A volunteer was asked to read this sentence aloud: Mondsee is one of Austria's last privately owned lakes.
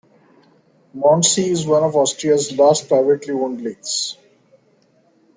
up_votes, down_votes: 3, 0